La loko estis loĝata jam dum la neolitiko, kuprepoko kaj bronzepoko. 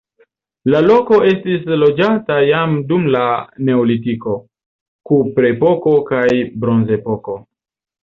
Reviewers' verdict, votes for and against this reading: accepted, 2, 0